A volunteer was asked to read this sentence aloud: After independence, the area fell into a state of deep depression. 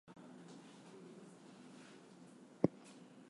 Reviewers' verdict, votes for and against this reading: rejected, 0, 2